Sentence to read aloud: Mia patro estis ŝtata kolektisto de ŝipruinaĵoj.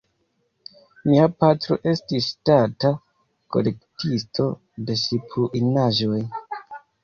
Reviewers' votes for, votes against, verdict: 1, 2, rejected